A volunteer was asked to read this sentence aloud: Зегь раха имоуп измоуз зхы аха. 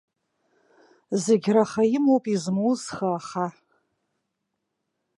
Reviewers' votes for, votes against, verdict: 0, 2, rejected